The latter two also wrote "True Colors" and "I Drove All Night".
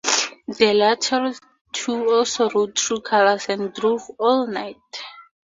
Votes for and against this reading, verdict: 0, 2, rejected